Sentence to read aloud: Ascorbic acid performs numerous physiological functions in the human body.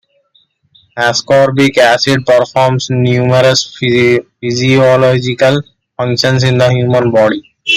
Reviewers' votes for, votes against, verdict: 2, 1, accepted